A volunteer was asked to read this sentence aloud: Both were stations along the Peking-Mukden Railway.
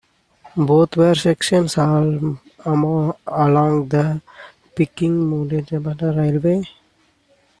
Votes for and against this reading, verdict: 0, 2, rejected